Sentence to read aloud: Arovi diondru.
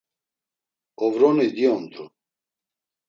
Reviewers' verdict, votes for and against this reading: rejected, 0, 2